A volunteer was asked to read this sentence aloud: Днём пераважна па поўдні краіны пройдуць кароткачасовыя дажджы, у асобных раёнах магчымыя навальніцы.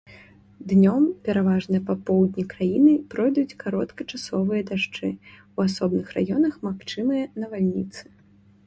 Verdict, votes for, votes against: accepted, 2, 0